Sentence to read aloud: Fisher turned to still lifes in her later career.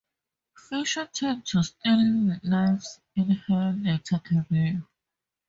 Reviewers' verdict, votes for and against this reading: rejected, 2, 2